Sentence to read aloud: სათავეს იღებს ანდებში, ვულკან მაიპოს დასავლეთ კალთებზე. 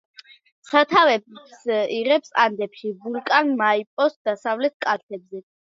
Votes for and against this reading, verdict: 2, 0, accepted